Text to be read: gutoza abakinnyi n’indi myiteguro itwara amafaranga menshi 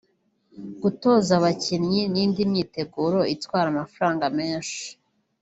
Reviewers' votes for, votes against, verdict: 1, 2, rejected